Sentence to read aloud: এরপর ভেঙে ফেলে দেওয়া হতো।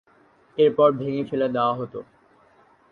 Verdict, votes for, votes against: accepted, 2, 1